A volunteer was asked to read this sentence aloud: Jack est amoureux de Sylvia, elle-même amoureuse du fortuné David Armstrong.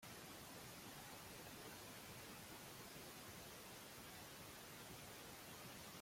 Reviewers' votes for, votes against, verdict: 0, 2, rejected